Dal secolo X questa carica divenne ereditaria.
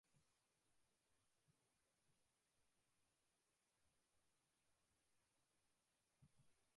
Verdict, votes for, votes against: rejected, 0, 2